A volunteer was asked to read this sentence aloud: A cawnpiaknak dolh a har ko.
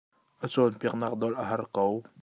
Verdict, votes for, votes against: rejected, 0, 2